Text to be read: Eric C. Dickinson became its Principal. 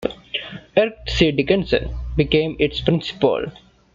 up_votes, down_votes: 2, 0